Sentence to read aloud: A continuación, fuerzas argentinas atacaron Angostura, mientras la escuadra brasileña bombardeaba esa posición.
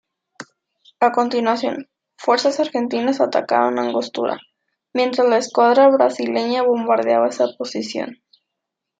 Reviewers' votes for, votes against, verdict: 2, 0, accepted